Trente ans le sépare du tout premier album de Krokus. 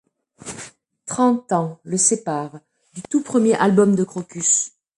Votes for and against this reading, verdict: 2, 0, accepted